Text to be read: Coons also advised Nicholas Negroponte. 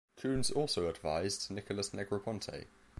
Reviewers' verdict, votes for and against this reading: rejected, 1, 2